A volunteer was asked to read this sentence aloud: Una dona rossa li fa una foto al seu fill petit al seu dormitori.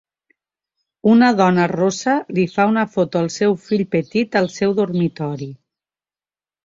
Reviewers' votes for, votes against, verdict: 2, 0, accepted